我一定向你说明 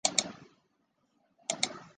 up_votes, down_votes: 0, 3